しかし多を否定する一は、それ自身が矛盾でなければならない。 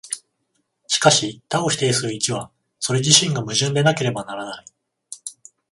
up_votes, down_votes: 14, 0